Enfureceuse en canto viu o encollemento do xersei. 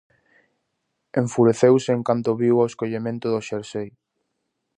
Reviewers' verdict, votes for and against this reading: rejected, 0, 2